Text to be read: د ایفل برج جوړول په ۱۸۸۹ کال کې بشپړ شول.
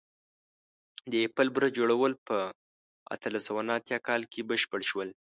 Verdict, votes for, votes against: rejected, 0, 2